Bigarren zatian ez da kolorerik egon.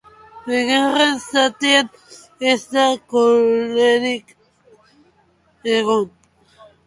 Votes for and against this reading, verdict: 0, 2, rejected